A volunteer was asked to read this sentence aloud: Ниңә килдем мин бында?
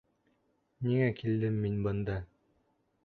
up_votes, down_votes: 3, 0